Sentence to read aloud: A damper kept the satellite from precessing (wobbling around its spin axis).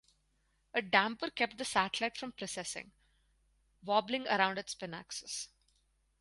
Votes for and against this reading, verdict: 4, 0, accepted